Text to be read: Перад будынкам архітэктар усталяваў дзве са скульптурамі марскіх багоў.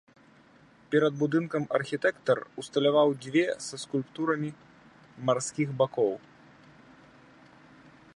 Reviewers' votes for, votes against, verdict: 0, 2, rejected